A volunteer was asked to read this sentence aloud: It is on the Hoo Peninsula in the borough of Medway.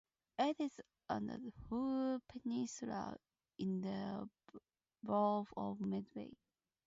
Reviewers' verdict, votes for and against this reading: accepted, 2, 0